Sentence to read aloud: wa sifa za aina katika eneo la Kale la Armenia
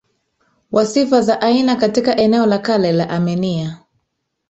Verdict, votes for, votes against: rejected, 1, 2